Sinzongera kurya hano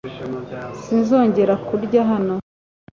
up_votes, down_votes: 2, 0